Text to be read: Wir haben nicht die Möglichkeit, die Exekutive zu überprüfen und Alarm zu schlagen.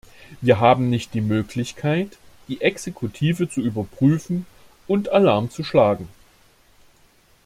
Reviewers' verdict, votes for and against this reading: accepted, 2, 0